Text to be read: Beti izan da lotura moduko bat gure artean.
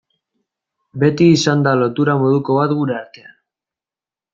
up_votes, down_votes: 2, 0